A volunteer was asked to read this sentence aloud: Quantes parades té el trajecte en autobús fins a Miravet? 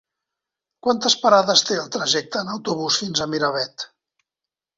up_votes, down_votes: 3, 0